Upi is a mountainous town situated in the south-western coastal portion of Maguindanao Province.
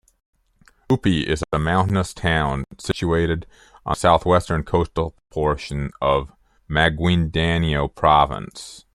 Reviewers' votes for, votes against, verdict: 0, 2, rejected